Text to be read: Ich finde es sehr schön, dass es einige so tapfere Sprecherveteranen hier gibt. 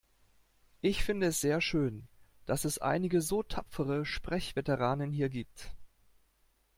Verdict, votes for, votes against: rejected, 1, 2